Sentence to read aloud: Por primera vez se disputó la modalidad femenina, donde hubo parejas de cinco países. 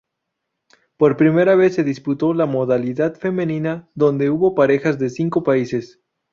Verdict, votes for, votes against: accepted, 2, 0